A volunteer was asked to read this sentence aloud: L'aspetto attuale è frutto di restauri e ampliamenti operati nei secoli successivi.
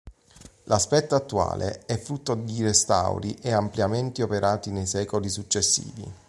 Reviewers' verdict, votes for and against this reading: accepted, 2, 0